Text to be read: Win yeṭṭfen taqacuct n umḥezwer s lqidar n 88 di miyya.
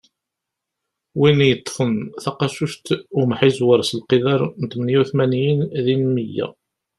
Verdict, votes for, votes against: rejected, 0, 2